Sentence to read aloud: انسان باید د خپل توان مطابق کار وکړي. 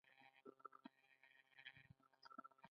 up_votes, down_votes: 1, 2